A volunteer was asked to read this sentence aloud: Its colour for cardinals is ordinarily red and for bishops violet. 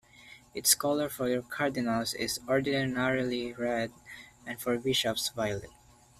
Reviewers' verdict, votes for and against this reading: accepted, 2, 1